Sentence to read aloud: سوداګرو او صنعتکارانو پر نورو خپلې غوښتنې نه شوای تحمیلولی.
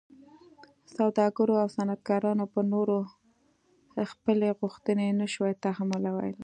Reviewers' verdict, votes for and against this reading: accepted, 2, 0